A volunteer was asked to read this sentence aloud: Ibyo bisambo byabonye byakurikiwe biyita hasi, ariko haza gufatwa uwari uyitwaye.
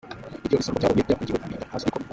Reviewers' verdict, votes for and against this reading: rejected, 0, 2